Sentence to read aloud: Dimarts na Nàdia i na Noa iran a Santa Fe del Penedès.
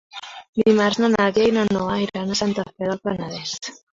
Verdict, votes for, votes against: rejected, 0, 2